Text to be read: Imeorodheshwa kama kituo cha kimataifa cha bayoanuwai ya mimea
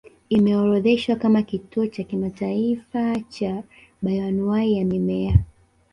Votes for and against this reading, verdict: 2, 0, accepted